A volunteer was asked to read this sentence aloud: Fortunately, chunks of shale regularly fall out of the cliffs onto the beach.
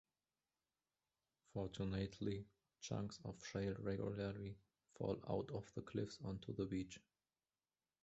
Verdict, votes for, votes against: rejected, 1, 2